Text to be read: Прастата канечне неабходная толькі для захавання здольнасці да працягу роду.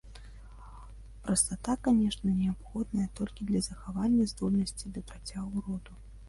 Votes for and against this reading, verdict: 1, 2, rejected